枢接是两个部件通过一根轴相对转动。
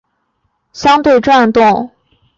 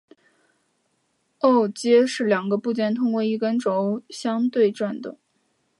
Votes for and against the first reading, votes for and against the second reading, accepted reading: 2, 3, 2, 1, second